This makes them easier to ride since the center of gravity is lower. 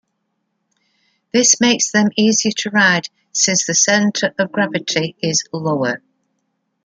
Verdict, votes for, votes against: accepted, 2, 0